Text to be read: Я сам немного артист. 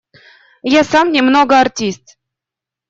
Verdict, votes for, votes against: accepted, 2, 0